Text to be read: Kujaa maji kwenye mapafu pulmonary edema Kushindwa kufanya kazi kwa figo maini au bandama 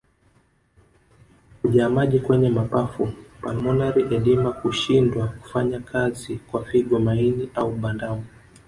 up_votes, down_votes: 0, 2